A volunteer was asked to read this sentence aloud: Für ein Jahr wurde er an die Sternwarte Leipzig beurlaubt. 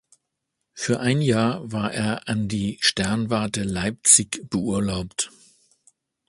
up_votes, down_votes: 1, 2